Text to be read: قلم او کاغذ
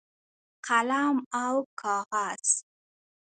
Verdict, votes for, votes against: accepted, 2, 0